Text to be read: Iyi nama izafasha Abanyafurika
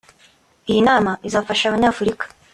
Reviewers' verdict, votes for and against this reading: accepted, 2, 0